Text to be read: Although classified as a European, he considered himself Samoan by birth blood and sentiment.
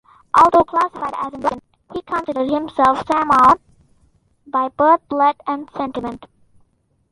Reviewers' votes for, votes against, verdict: 0, 2, rejected